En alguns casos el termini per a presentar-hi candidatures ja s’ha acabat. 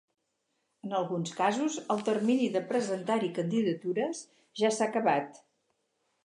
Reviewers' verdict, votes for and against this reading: rejected, 2, 2